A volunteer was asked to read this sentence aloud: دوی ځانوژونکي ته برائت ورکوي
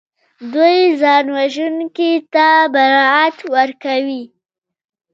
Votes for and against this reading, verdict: 2, 1, accepted